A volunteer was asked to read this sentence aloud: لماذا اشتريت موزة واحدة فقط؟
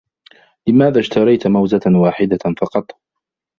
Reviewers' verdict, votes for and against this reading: rejected, 1, 2